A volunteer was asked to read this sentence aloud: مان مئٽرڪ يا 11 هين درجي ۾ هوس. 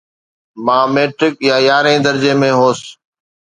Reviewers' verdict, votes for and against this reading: rejected, 0, 2